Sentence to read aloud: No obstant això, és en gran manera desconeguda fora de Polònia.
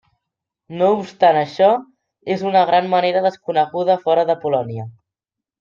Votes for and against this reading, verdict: 1, 2, rejected